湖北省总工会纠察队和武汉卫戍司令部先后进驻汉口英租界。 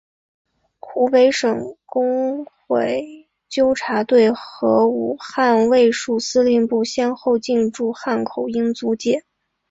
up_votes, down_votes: 3, 1